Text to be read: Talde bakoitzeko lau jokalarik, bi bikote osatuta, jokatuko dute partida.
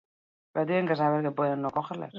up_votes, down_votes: 0, 4